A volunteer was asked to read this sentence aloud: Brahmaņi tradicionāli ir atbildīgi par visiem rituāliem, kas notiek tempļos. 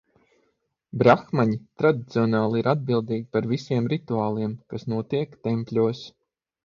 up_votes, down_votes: 6, 0